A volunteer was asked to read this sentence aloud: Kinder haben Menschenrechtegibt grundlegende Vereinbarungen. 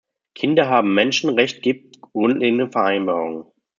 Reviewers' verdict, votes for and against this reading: rejected, 1, 2